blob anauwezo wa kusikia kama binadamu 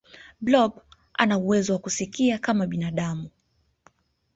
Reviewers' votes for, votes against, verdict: 2, 0, accepted